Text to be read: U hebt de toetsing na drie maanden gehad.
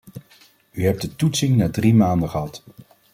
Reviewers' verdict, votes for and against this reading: accepted, 2, 0